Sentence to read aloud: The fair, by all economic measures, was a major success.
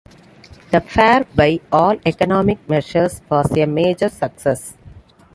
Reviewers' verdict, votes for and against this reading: accepted, 2, 0